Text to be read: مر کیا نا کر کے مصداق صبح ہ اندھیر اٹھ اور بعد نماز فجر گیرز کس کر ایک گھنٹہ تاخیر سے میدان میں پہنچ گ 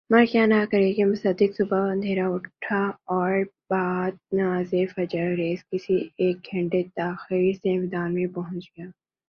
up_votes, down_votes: 2, 0